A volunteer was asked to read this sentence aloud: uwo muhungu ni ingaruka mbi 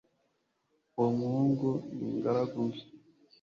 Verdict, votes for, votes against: rejected, 1, 2